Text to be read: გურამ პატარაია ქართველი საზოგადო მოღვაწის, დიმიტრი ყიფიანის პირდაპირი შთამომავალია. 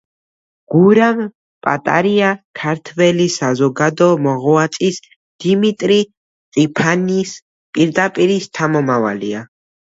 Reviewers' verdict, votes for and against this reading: rejected, 0, 2